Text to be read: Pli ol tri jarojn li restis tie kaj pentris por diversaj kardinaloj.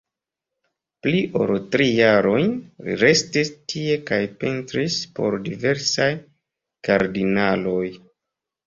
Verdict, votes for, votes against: accepted, 2, 0